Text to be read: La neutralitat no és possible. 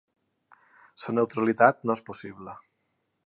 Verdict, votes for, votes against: rejected, 2, 3